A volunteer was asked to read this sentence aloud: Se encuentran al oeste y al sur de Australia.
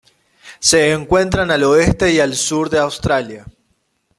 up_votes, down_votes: 2, 0